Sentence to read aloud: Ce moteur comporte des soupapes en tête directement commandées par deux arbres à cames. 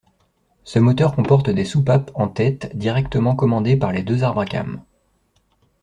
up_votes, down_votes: 1, 2